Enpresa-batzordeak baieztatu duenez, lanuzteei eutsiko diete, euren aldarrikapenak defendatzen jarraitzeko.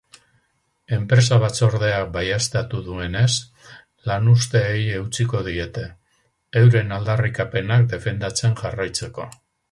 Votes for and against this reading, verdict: 4, 0, accepted